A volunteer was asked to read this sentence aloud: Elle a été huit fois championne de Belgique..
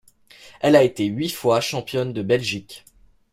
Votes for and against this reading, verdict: 2, 0, accepted